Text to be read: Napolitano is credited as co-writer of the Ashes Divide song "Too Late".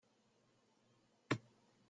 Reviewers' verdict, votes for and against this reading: rejected, 0, 2